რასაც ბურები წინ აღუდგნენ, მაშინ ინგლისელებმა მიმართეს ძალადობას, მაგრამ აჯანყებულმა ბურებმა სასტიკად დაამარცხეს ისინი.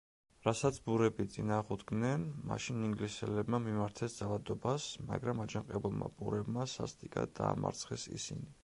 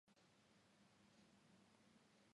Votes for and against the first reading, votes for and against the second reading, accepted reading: 2, 1, 0, 2, first